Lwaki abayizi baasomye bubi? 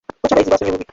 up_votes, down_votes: 0, 2